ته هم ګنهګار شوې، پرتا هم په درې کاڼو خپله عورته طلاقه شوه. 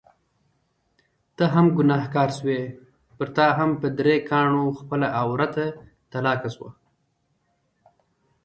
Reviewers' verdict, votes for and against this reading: rejected, 1, 2